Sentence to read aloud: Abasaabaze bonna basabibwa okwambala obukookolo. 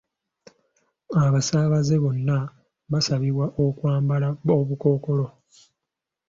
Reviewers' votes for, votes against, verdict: 2, 0, accepted